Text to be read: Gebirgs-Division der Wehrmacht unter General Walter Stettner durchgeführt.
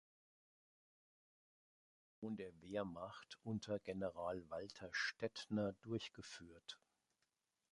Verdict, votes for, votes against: rejected, 0, 2